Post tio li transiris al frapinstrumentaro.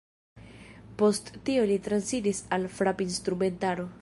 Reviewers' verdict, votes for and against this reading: rejected, 0, 2